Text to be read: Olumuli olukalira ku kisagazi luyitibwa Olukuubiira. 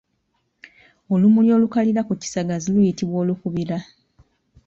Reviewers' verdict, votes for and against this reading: rejected, 1, 2